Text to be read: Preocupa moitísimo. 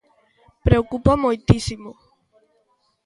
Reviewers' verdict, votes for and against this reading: rejected, 0, 2